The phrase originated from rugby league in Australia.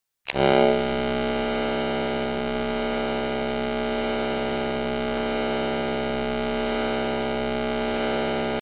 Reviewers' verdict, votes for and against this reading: rejected, 0, 2